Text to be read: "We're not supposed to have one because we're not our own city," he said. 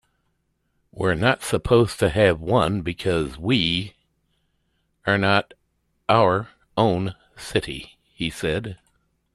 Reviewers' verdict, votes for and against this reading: rejected, 0, 2